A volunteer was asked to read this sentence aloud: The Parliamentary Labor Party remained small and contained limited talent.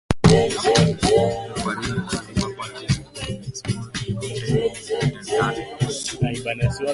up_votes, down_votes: 0, 2